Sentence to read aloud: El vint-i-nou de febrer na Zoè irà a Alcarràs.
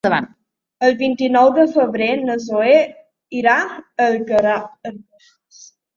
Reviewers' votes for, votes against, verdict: 0, 2, rejected